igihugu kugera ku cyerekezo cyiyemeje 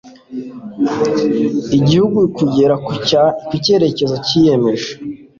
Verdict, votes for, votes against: rejected, 1, 2